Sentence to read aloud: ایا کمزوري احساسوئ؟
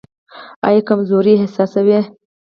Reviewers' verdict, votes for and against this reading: rejected, 2, 2